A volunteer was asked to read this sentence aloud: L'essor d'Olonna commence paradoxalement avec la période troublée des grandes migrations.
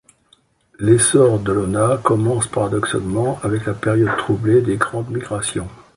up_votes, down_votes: 2, 0